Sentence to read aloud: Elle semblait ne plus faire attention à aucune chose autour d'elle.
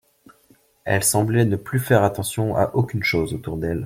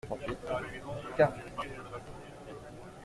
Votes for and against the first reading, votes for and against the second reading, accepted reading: 2, 0, 0, 2, first